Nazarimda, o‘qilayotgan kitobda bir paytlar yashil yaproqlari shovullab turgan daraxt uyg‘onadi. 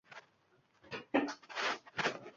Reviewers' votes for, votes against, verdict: 0, 2, rejected